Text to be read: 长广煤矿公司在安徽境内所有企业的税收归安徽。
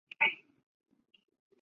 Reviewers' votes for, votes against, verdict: 0, 3, rejected